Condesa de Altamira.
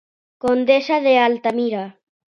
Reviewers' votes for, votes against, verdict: 2, 0, accepted